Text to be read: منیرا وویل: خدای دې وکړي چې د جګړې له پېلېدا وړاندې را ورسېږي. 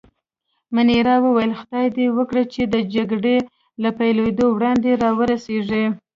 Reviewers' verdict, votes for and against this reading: rejected, 0, 2